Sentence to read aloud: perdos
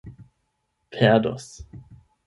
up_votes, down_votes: 0, 8